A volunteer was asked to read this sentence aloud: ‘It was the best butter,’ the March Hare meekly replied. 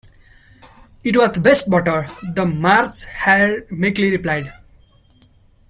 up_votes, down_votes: 0, 2